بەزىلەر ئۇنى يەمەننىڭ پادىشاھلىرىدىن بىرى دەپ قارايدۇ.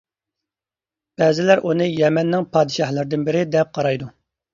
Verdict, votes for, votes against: accepted, 2, 0